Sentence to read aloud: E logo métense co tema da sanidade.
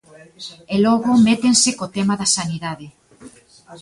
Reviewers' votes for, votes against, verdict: 2, 1, accepted